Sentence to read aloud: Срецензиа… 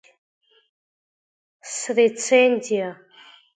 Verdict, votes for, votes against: rejected, 1, 2